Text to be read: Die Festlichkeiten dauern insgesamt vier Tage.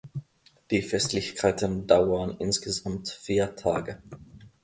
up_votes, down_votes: 2, 0